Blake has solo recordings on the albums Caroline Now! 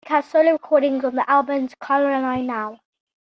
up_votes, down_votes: 0, 2